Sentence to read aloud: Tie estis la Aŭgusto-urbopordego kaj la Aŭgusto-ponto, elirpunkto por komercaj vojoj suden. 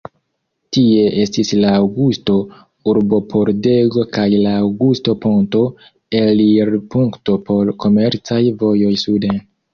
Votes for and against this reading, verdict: 2, 1, accepted